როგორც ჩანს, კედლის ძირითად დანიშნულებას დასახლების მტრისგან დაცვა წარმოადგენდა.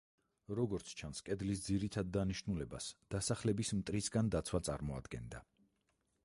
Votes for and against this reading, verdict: 2, 4, rejected